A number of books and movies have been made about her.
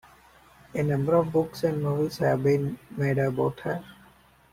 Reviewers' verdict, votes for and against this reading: accepted, 2, 1